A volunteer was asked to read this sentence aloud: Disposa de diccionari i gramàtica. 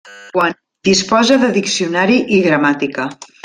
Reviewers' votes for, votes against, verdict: 0, 2, rejected